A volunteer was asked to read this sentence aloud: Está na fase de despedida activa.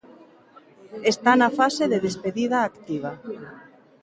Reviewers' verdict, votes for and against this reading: accepted, 2, 0